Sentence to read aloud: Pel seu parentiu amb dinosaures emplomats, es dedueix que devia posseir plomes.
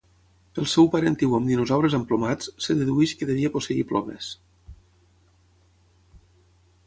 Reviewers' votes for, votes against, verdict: 3, 0, accepted